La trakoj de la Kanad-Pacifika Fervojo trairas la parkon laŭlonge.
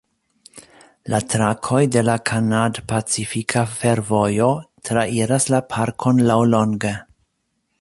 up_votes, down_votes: 2, 0